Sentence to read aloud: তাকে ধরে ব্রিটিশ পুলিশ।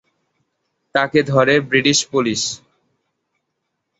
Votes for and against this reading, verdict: 2, 0, accepted